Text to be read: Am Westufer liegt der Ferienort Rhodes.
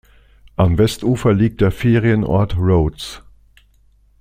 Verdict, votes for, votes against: accepted, 2, 0